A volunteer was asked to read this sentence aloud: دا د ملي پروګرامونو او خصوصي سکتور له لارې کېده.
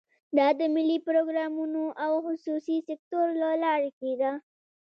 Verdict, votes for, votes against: accepted, 2, 1